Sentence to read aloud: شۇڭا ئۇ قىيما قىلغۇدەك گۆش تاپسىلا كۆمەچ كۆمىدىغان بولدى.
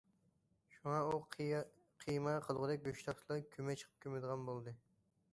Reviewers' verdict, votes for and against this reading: rejected, 0, 2